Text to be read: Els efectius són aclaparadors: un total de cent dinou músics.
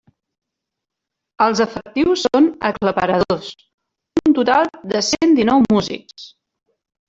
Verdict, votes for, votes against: rejected, 0, 2